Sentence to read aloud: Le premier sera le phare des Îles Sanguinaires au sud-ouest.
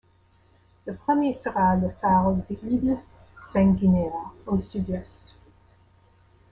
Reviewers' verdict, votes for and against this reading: rejected, 0, 2